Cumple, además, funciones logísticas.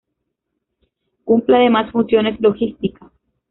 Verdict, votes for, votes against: rejected, 0, 2